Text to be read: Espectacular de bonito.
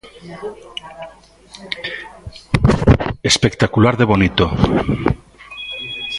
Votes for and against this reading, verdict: 1, 2, rejected